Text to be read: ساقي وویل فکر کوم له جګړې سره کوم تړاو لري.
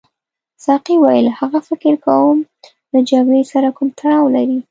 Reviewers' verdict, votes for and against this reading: rejected, 0, 2